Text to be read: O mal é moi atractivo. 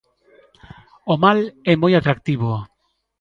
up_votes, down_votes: 2, 0